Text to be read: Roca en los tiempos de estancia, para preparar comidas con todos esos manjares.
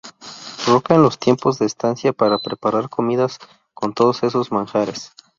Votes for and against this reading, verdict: 0, 2, rejected